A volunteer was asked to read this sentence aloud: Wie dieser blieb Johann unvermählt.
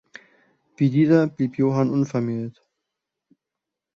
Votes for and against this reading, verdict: 2, 0, accepted